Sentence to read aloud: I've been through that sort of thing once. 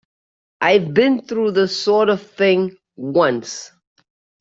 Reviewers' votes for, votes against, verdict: 1, 2, rejected